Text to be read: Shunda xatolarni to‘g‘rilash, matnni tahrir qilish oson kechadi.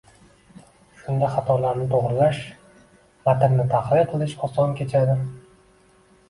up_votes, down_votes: 2, 0